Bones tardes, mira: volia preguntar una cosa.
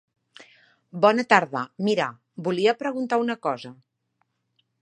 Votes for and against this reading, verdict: 0, 2, rejected